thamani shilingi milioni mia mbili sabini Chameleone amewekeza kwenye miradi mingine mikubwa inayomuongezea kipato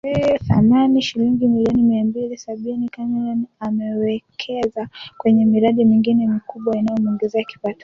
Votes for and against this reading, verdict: 3, 1, accepted